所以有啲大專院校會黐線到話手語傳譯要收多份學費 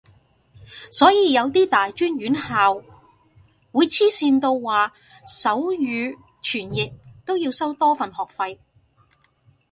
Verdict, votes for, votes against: rejected, 1, 3